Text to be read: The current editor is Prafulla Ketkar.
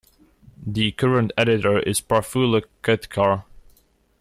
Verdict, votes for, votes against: accepted, 2, 0